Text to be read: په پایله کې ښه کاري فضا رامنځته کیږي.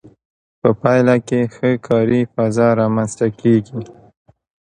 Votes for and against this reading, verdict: 2, 0, accepted